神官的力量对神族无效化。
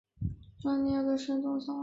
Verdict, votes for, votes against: rejected, 1, 3